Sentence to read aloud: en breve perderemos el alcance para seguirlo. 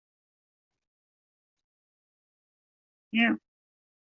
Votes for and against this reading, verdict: 0, 2, rejected